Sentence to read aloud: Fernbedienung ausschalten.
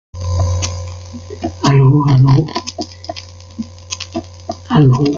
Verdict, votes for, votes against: rejected, 0, 2